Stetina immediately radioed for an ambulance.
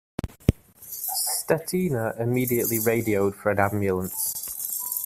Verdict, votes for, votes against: accepted, 2, 0